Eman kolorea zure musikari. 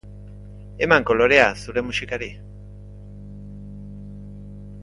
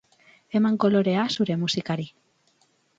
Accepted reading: second